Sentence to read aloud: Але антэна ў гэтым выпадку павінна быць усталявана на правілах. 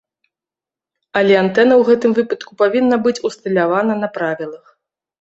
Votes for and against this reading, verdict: 0, 2, rejected